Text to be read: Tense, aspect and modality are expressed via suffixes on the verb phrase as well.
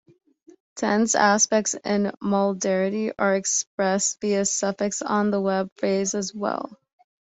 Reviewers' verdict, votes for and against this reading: rejected, 1, 2